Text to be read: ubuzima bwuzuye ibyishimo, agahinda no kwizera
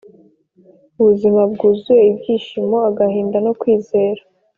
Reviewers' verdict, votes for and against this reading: accepted, 3, 0